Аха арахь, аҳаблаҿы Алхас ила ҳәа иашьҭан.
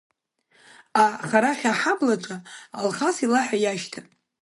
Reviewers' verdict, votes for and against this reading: rejected, 1, 2